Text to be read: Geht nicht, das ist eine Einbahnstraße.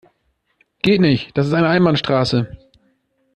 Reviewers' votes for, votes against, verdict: 2, 0, accepted